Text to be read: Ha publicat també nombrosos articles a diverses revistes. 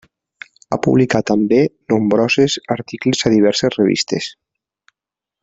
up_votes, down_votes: 1, 2